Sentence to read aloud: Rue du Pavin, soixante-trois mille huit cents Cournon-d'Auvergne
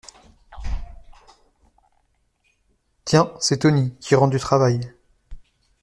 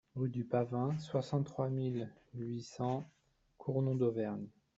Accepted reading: second